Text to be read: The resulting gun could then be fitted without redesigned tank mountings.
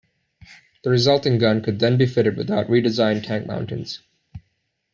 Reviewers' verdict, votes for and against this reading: accepted, 2, 0